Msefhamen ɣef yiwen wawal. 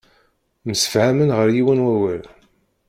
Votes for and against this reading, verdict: 0, 2, rejected